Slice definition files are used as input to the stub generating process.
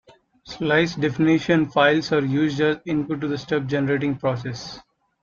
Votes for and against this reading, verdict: 2, 1, accepted